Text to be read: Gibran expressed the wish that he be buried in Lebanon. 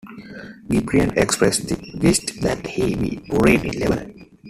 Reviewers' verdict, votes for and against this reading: accepted, 2, 1